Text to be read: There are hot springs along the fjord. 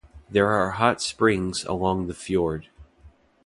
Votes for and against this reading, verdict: 2, 0, accepted